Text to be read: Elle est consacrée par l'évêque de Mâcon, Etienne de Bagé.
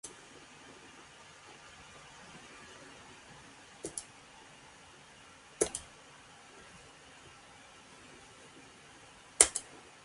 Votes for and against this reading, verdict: 0, 2, rejected